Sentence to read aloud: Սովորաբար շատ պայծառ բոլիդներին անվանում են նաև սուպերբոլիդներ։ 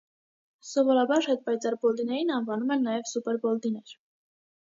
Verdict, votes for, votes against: rejected, 1, 2